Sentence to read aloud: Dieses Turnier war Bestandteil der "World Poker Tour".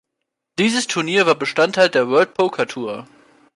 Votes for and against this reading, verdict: 2, 0, accepted